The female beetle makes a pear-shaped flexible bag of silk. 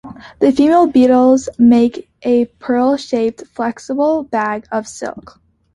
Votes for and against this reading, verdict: 0, 2, rejected